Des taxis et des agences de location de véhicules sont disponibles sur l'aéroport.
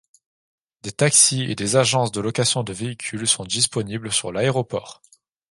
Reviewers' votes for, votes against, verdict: 2, 0, accepted